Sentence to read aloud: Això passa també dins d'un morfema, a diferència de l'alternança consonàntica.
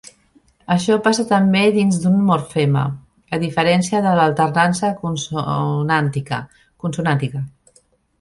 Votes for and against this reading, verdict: 0, 2, rejected